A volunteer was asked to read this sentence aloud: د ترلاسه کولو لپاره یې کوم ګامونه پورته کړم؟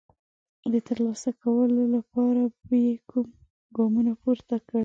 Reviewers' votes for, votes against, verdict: 1, 2, rejected